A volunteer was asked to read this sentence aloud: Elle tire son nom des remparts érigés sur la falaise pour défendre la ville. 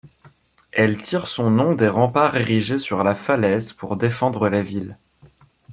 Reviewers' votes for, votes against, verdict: 2, 0, accepted